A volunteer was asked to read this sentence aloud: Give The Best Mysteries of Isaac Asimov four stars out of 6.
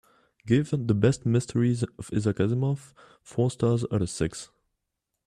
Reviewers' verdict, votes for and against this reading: rejected, 0, 2